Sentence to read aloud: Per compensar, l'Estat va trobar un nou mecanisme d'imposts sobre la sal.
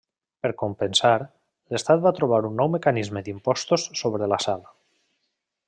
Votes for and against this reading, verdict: 1, 2, rejected